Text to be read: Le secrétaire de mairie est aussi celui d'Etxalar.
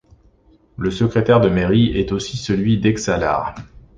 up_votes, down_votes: 2, 0